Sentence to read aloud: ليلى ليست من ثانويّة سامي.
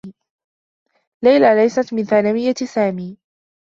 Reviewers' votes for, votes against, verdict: 2, 0, accepted